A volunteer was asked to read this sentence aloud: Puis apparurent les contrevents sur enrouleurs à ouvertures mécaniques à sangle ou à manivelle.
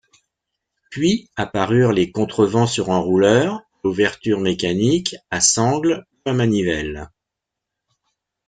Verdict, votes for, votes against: rejected, 0, 2